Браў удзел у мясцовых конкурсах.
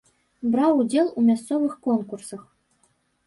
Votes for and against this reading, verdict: 3, 0, accepted